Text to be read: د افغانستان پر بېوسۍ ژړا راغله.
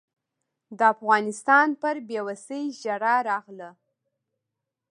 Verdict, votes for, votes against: rejected, 1, 2